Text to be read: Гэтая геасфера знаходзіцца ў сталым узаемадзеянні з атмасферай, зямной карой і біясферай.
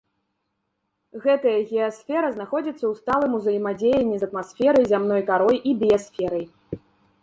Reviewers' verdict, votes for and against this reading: rejected, 1, 2